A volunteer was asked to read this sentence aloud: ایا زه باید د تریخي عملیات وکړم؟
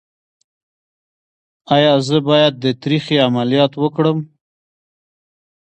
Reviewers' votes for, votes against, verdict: 2, 1, accepted